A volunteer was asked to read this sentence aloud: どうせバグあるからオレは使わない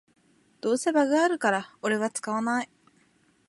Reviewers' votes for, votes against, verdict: 2, 0, accepted